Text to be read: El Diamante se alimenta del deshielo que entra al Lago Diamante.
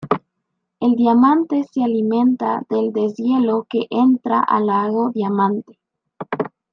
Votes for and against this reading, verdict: 2, 1, accepted